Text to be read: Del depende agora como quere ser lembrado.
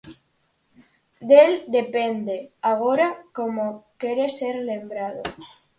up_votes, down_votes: 4, 0